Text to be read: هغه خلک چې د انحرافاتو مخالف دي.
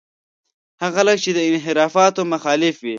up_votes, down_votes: 2, 1